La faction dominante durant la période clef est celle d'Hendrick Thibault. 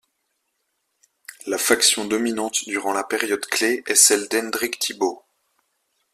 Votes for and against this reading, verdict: 2, 0, accepted